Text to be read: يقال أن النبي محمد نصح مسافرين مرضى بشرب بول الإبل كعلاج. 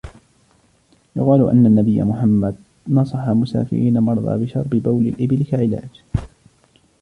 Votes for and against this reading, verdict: 1, 2, rejected